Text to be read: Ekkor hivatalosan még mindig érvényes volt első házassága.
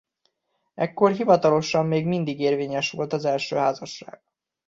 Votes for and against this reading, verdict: 1, 2, rejected